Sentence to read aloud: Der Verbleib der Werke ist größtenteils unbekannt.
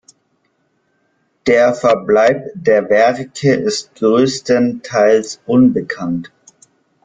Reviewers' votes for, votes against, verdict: 2, 0, accepted